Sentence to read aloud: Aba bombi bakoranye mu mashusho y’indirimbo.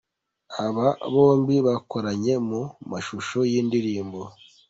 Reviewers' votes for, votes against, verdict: 2, 0, accepted